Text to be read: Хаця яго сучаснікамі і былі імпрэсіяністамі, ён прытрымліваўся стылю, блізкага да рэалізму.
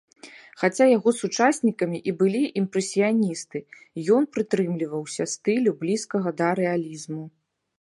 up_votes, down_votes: 1, 2